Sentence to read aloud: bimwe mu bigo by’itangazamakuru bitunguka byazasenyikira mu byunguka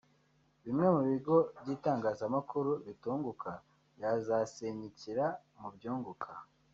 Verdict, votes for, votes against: rejected, 1, 2